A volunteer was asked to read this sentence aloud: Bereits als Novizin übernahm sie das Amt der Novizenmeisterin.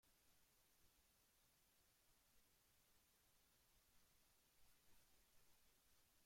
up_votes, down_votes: 1, 2